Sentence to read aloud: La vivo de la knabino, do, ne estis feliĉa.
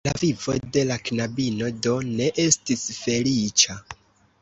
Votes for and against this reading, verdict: 1, 2, rejected